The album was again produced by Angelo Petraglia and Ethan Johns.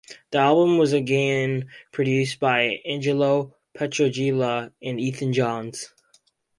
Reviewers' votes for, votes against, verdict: 2, 4, rejected